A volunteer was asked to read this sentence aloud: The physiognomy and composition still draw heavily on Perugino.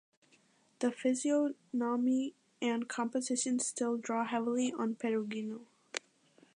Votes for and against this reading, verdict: 2, 0, accepted